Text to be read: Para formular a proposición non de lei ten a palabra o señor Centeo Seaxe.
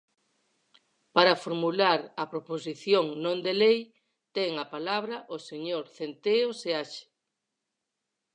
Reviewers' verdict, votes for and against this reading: accepted, 4, 0